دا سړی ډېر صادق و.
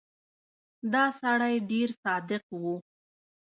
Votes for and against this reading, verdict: 0, 2, rejected